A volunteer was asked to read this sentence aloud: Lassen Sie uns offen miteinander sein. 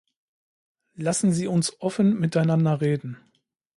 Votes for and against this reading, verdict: 0, 2, rejected